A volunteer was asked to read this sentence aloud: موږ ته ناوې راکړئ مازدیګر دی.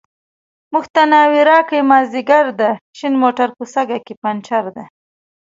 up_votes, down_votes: 0, 3